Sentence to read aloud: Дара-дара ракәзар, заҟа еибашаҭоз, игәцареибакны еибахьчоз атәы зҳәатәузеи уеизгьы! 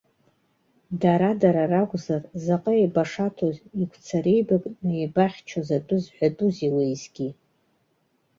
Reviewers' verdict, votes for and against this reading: accepted, 2, 0